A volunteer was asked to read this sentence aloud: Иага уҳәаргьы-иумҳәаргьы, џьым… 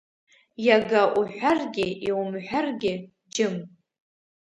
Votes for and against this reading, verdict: 3, 0, accepted